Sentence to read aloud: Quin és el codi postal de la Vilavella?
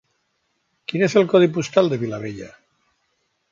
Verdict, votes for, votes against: rejected, 1, 2